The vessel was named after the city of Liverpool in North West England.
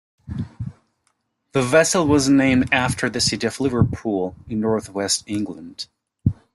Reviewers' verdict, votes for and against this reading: accepted, 2, 0